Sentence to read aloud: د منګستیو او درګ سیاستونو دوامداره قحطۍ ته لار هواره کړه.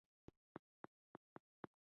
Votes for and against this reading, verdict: 1, 2, rejected